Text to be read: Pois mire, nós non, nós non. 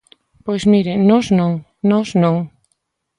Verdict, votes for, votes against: accepted, 2, 0